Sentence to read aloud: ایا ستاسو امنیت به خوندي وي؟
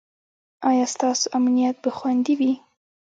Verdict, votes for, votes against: rejected, 0, 2